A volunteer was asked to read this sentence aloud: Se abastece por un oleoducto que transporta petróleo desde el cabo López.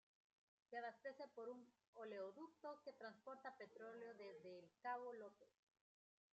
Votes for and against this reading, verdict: 2, 0, accepted